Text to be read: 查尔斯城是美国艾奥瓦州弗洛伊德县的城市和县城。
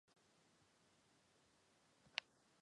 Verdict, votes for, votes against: rejected, 0, 6